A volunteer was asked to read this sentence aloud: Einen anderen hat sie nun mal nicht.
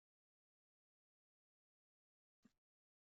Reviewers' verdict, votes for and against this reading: rejected, 0, 2